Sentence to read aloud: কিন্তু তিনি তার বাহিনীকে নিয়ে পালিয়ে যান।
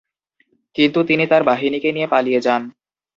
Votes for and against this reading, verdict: 2, 0, accepted